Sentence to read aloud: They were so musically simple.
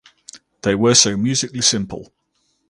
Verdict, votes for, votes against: accepted, 4, 0